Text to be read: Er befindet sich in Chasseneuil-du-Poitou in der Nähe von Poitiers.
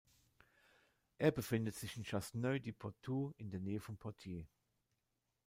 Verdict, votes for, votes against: rejected, 1, 2